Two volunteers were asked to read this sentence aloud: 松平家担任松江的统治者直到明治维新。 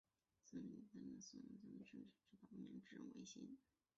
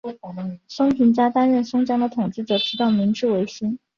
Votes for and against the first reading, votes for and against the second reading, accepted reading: 2, 3, 3, 1, second